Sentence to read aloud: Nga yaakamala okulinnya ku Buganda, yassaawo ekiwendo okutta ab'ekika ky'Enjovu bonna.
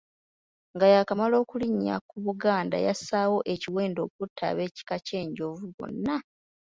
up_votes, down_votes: 2, 0